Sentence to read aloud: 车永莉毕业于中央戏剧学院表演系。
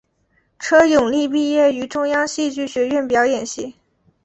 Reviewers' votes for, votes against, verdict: 3, 0, accepted